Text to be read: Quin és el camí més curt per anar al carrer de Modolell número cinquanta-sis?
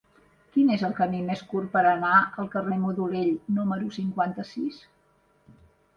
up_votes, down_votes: 0, 2